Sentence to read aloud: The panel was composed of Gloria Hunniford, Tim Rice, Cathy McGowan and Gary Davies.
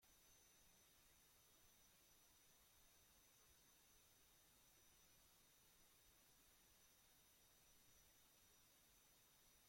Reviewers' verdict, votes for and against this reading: rejected, 0, 2